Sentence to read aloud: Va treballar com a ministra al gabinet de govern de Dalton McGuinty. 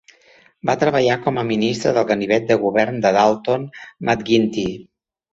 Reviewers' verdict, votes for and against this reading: rejected, 1, 2